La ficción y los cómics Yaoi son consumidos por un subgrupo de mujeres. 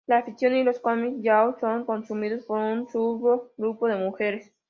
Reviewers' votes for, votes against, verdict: 0, 2, rejected